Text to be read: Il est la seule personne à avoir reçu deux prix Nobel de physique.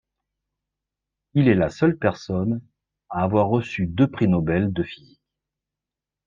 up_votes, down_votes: 1, 2